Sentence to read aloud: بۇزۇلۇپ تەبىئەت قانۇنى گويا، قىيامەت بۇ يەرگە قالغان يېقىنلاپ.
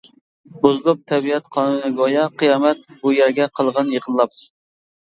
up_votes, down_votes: 0, 2